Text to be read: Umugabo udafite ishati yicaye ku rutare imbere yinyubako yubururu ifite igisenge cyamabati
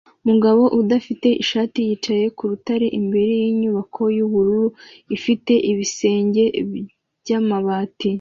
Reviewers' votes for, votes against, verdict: 0, 2, rejected